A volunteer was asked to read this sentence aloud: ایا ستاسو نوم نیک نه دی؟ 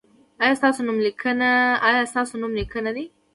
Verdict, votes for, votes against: accepted, 2, 0